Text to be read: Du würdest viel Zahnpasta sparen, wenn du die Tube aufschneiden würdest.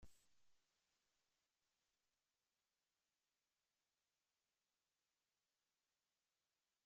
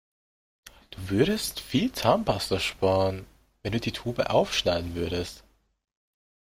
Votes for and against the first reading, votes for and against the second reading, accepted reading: 0, 2, 2, 0, second